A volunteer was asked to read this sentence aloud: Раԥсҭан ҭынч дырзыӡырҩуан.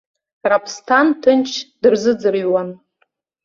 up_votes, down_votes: 2, 0